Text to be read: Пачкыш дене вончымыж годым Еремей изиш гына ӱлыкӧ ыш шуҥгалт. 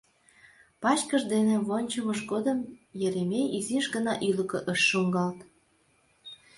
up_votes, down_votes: 2, 0